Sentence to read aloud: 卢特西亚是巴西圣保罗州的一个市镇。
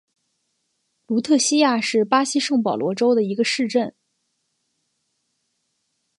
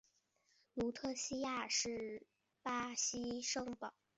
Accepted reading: first